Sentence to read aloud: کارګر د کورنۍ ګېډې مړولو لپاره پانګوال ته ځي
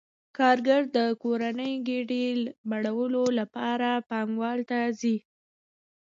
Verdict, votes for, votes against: accepted, 2, 0